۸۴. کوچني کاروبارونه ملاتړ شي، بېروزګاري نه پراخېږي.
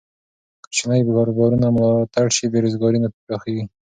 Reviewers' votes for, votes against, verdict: 0, 2, rejected